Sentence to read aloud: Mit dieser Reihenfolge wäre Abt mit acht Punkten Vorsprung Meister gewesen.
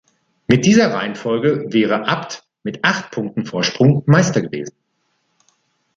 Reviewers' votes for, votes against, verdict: 2, 0, accepted